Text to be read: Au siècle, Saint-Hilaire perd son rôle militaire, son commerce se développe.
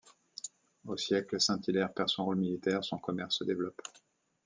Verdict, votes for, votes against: accepted, 2, 0